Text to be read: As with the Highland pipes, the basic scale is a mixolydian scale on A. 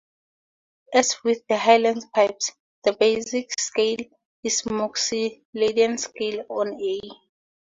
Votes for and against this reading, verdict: 0, 2, rejected